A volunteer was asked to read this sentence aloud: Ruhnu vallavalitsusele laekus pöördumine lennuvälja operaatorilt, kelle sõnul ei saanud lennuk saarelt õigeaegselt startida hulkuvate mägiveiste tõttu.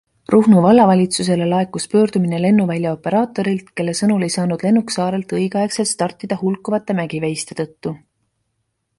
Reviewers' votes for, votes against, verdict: 2, 0, accepted